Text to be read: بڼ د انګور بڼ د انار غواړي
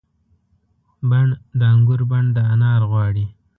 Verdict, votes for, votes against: accepted, 2, 0